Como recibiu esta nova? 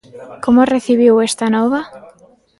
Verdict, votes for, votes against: rejected, 1, 2